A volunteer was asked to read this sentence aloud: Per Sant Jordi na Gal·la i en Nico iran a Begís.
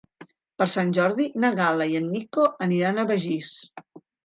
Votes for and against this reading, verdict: 1, 2, rejected